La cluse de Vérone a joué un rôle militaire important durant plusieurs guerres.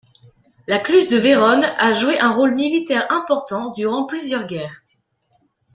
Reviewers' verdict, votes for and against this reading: accepted, 4, 0